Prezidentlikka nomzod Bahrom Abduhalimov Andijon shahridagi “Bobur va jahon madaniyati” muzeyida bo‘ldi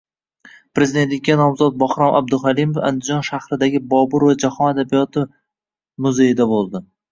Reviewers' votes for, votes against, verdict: 0, 2, rejected